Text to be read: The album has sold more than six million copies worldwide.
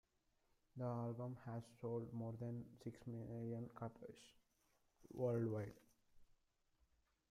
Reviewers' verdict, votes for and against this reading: accepted, 2, 1